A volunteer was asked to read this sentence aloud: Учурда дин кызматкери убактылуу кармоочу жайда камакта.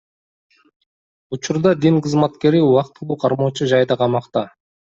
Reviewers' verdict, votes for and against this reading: accepted, 2, 0